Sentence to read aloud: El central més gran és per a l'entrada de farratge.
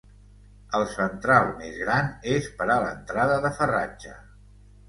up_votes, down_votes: 2, 0